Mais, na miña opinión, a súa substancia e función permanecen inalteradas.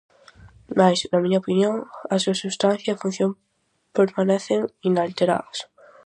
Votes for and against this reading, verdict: 4, 0, accepted